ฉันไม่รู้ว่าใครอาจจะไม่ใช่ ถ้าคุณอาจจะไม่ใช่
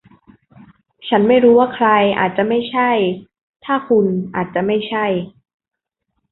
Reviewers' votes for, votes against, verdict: 2, 0, accepted